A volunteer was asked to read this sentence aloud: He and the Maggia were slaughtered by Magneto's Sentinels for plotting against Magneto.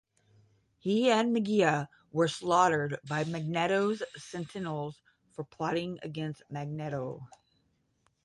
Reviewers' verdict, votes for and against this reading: rejected, 5, 10